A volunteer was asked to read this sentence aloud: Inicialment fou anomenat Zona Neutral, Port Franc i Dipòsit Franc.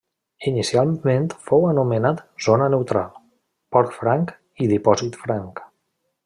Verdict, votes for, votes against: rejected, 0, 2